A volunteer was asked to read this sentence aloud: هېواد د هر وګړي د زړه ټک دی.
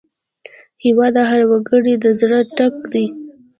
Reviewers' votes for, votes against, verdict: 2, 0, accepted